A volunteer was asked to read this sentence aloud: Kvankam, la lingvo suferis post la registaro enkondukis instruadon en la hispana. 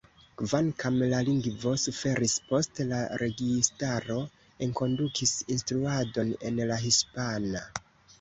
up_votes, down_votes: 2, 1